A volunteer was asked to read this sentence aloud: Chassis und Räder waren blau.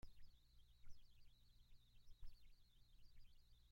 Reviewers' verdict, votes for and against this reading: rejected, 0, 3